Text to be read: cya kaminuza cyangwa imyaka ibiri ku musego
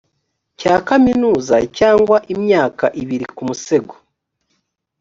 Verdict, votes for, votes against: accepted, 2, 0